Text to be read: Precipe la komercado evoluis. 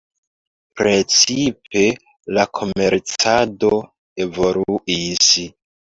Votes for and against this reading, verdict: 0, 2, rejected